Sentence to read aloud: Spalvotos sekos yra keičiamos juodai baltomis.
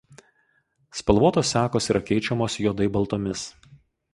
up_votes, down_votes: 2, 0